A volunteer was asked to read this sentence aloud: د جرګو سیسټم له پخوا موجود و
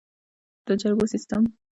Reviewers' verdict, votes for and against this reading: rejected, 1, 2